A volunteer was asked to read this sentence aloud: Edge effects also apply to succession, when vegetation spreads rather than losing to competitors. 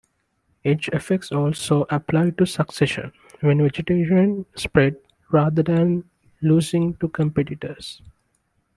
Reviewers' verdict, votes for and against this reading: rejected, 2, 3